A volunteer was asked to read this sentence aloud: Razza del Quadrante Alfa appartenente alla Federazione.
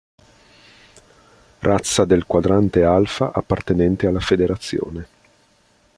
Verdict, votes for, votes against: accepted, 2, 0